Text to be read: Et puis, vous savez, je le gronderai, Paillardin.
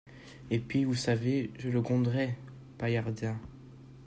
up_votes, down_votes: 2, 0